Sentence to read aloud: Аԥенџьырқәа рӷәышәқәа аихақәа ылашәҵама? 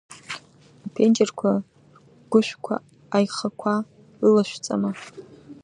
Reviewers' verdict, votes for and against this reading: rejected, 1, 2